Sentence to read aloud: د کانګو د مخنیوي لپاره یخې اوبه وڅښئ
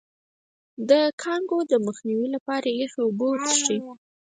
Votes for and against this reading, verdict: 2, 4, rejected